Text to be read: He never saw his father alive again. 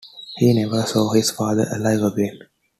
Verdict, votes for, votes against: accepted, 2, 0